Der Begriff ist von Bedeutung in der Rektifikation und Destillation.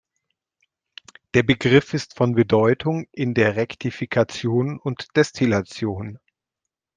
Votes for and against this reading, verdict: 2, 0, accepted